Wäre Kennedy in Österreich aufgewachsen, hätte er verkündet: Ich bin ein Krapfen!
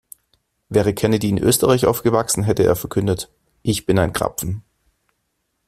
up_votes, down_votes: 2, 0